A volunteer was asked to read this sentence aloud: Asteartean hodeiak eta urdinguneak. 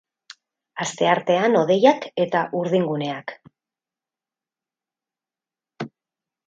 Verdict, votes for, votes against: accepted, 6, 0